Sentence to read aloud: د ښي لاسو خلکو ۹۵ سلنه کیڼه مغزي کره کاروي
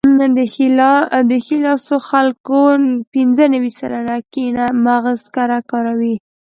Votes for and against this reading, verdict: 0, 2, rejected